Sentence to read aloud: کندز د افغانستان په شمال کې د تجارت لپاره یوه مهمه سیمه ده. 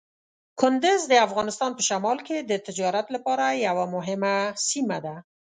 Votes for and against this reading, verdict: 2, 0, accepted